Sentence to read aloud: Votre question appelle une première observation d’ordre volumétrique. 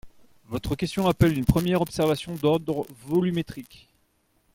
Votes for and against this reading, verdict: 0, 2, rejected